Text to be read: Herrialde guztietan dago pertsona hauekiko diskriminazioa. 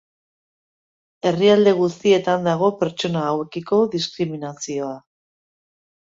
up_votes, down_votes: 4, 0